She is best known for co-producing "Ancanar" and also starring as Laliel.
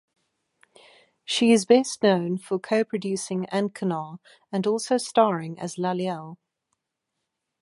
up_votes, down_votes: 2, 0